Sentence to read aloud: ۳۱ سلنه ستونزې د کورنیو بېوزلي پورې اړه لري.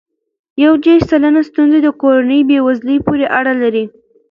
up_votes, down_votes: 0, 2